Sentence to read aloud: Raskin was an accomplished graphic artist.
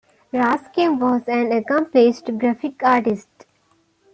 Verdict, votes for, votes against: accepted, 2, 1